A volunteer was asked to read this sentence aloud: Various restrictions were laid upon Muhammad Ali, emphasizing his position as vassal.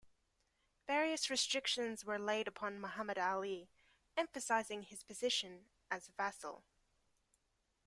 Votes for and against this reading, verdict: 2, 1, accepted